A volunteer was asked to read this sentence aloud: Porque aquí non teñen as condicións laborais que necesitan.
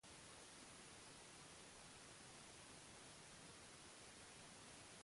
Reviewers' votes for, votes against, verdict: 0, 2, rejected